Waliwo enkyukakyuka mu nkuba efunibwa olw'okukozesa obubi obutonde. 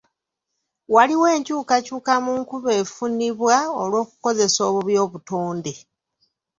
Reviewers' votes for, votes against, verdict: 3, 0, accepted